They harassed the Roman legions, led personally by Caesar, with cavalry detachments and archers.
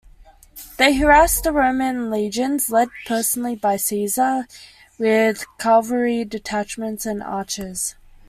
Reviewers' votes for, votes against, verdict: 2, 0, accepted